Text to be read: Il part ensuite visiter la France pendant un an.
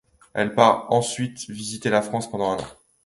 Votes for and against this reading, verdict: 1, 2, rejected